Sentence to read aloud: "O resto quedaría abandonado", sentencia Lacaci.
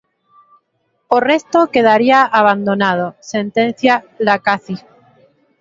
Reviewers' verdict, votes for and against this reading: accepted, 8, 2